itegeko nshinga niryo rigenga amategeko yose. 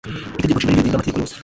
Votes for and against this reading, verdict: 1, 2, rejected